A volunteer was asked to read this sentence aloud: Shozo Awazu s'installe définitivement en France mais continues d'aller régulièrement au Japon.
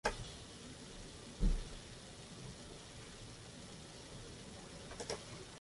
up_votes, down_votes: 0, 2